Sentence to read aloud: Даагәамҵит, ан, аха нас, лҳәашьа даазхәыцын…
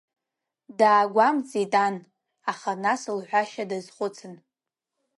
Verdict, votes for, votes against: accepted, 2, 0